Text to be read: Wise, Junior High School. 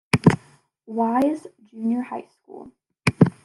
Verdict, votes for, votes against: accepted, 2, 0